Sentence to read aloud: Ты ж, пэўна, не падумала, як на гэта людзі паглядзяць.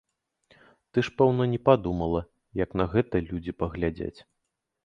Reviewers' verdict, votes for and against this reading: accepted, 2, 0